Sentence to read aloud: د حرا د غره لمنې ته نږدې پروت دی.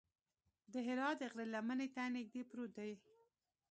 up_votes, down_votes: 2, 0